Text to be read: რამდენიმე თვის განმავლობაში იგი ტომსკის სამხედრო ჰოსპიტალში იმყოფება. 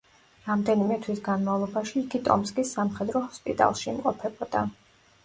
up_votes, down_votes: 1, 2